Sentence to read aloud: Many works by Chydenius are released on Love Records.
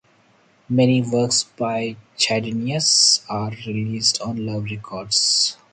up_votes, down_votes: 0, 2